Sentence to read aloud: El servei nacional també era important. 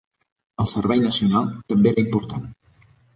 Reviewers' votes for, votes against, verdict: 3, 0, accepted